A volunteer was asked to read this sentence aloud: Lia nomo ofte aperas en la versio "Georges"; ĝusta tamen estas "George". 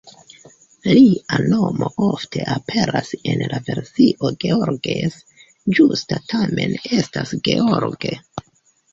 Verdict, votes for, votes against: rejected, 1, 2